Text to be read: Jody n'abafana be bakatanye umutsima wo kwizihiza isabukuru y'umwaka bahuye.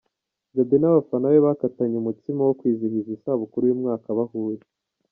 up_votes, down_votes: 2, 0